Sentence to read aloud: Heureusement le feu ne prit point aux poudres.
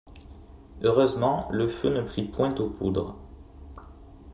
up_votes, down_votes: 2, 0